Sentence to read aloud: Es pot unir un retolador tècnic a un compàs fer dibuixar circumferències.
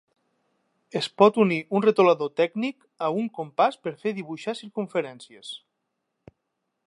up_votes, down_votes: 1, 3